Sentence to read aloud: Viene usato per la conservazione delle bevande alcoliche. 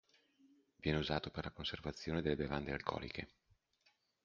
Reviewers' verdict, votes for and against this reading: accepted, 2, 0